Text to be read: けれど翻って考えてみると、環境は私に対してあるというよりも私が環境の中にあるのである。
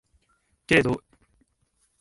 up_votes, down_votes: 0, 2